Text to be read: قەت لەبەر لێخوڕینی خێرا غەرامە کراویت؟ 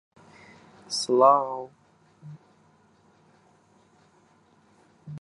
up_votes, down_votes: 0, 2